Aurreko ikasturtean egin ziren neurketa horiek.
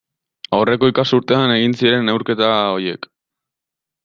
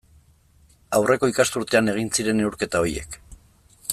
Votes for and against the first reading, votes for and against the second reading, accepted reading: 0, 2, 2, 0, second